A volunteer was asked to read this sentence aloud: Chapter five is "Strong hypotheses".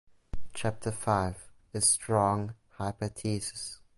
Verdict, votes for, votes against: accepted, 2, 0